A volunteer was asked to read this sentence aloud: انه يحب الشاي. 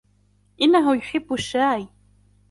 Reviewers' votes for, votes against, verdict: 2, 0, accepted